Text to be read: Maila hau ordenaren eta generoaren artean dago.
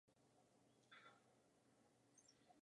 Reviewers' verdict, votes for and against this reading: rejected, 0, 2